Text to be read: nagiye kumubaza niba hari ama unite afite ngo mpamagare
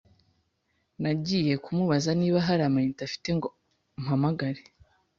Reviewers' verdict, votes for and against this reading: accepted, 2, 0